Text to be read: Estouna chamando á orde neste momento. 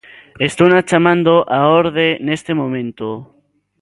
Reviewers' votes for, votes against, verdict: 2, 0, accepted